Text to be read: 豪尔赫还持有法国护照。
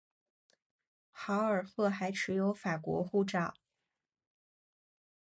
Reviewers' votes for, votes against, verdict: 2, 0, accepted